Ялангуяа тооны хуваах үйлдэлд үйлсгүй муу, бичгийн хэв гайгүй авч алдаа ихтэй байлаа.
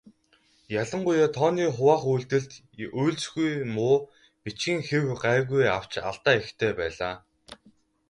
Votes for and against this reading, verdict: 2, 2, rejected